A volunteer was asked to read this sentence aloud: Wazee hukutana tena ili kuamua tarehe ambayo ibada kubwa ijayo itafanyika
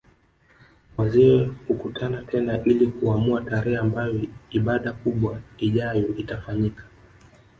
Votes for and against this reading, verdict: 1, 2, rejected